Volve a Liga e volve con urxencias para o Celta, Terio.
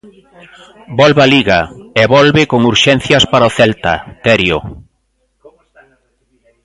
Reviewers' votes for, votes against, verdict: 1, 2, rejected